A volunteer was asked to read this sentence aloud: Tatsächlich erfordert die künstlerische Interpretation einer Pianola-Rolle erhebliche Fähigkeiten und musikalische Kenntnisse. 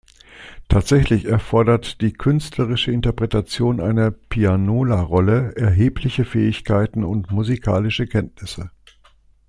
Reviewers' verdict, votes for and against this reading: accepted, 2, 0